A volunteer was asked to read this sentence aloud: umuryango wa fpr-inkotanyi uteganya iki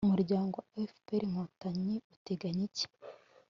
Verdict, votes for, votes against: accepted, 3, 0